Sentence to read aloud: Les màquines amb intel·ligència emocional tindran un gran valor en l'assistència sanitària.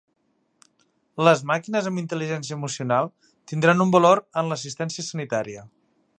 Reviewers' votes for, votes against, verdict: 1, 2, rejected